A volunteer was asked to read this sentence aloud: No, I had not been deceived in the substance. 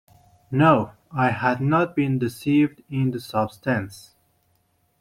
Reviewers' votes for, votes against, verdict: 1, 2, rejected